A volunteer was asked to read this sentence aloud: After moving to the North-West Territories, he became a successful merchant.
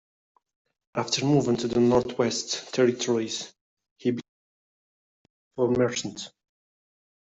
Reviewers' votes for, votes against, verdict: 0, 2, rejected